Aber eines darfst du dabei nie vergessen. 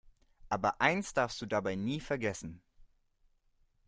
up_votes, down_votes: 1, 2